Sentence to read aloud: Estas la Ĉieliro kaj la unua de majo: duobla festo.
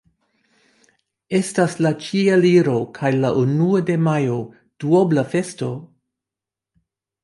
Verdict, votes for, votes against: accepted, 2, 0